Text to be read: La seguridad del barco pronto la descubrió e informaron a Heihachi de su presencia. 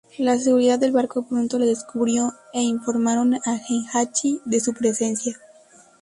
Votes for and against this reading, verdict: 0, 2, rejected